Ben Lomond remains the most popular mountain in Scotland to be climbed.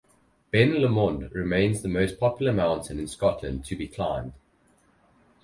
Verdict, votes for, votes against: rejected, 2, 2